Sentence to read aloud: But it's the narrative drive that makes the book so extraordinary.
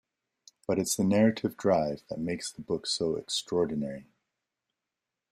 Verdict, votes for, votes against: accepted, 2, 1